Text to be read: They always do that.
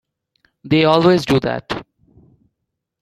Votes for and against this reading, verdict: 1, 2, rejected